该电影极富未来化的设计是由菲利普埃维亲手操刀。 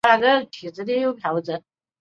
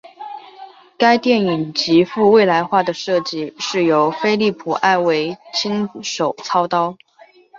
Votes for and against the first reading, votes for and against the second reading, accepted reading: 1, 3, 2, 1, second